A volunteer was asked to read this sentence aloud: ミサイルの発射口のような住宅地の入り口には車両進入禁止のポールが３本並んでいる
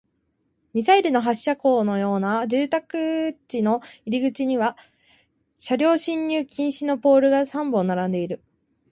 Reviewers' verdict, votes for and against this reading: rejected, 0, 2